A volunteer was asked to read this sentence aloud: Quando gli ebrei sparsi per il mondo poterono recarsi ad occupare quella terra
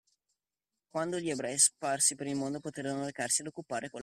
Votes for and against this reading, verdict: 0, 2, rejected